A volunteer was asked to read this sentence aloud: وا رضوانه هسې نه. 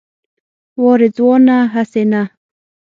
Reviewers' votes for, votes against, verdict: 6, 0, accepted